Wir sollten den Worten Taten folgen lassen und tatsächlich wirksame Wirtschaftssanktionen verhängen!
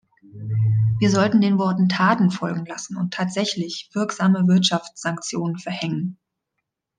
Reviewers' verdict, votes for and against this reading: accepted, 2, 0